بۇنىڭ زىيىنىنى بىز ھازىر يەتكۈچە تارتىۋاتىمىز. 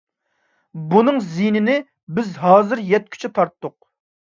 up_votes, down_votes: 0, 2